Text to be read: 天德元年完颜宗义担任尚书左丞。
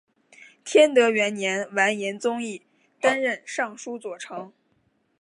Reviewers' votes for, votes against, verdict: 2, 1, accepted